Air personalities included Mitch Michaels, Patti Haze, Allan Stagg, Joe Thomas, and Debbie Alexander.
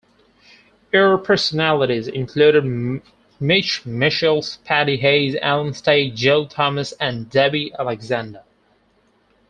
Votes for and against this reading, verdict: 0, 4, rejected